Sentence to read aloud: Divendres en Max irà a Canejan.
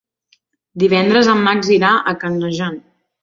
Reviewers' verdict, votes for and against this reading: accepted, 3, 1